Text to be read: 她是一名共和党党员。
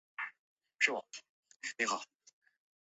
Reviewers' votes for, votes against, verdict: 0, 3, rejected